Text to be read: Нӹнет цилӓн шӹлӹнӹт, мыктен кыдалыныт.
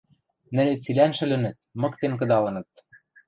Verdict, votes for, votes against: accepted, 2, 0